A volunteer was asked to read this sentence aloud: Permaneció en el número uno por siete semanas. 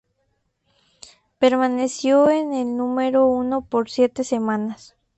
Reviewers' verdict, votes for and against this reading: accepted, 2, 0